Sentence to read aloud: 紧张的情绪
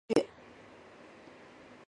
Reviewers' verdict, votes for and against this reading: rejected, 0, 2